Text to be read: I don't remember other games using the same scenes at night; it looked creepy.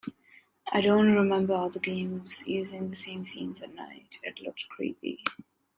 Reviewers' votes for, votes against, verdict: 2, 0, accepted